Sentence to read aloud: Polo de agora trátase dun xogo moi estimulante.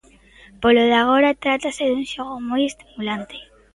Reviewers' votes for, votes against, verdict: 1, 2, rejected